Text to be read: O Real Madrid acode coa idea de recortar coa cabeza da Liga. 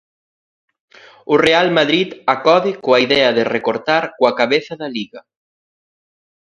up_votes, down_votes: 3, 0